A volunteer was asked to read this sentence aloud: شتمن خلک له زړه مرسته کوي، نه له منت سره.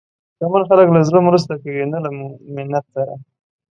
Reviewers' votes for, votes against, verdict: 2, 0, accepted